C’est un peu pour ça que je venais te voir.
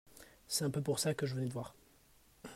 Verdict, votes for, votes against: accepted, 2, 0